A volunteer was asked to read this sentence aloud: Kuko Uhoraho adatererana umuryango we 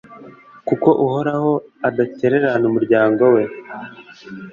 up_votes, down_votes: 2, 0